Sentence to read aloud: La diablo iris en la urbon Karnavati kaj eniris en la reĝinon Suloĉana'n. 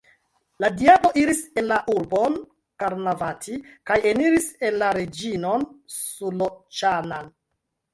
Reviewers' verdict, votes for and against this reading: rejected, 1, 2